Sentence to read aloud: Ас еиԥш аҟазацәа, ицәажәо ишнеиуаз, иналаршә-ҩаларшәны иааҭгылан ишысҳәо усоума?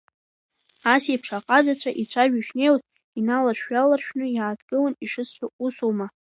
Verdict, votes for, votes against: rejected, 1, 2